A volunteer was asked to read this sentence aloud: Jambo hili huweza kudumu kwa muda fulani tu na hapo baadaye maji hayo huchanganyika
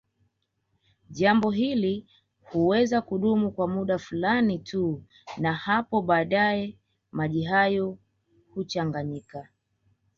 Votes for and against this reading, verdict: 2, 0, accepted